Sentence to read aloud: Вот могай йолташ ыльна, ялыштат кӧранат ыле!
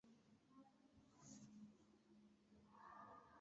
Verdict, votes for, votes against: rejected, 0, 2